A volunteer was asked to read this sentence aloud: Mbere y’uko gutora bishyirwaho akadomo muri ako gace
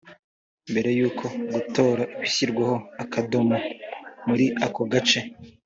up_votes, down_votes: 5, 0